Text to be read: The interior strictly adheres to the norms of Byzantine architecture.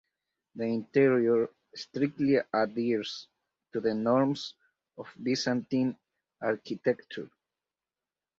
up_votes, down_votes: 4, 2